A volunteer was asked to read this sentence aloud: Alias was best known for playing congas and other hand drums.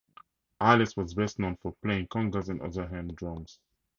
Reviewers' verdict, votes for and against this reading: accepted, 4, 0